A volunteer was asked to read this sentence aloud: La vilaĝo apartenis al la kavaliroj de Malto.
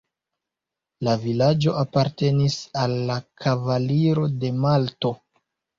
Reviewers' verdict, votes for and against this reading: rejected, 0, 2